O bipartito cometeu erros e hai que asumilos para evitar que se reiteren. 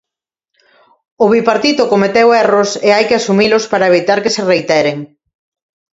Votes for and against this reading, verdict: 2, 0, accepted